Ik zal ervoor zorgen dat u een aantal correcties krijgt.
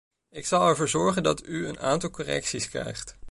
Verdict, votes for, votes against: accepted, 2, 0